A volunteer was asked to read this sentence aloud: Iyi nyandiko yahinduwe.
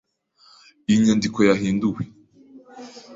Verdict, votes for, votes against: rejected, 1, 2